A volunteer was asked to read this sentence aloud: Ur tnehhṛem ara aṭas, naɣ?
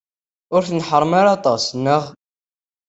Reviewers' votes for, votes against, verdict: 1, 2, rejected